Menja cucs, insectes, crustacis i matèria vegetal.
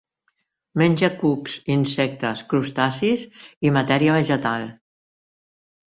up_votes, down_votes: 2, 0